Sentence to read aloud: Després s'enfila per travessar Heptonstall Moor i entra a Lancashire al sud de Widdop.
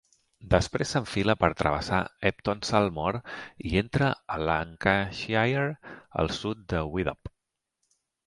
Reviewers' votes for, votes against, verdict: 3, 0, accepted